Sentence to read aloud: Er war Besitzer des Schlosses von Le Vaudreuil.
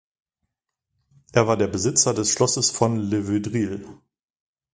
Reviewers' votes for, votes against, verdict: 0, 2, rejected